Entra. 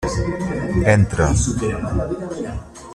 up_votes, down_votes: 1, 3